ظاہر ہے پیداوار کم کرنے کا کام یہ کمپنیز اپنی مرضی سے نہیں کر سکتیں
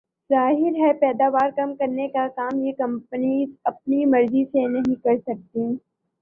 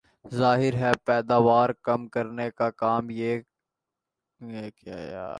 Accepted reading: first